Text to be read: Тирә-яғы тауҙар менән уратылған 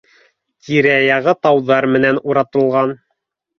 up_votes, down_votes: 3, 0